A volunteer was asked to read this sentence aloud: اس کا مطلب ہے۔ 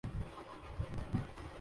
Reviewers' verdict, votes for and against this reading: rejected, 0, 2